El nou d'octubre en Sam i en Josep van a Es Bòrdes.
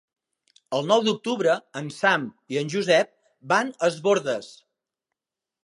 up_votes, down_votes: 2, 0